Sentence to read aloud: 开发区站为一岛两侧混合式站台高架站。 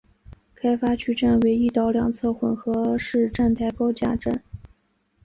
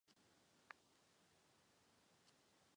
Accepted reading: first